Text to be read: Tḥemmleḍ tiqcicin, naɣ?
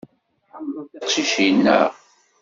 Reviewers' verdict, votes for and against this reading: rejected, 0, 2